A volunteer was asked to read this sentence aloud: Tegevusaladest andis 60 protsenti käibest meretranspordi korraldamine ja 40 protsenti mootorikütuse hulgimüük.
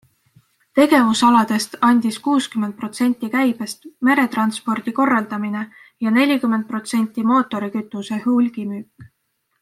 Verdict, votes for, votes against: rejected, 0, 2